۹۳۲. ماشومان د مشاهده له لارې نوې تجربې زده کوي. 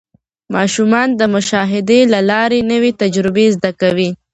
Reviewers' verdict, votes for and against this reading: rejected, 0, 2